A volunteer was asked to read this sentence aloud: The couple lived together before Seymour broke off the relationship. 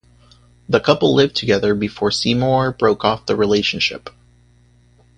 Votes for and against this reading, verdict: 2, 0, accepted